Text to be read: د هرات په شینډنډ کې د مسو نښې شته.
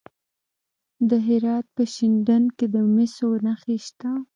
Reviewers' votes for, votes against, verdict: 0, 2, rejected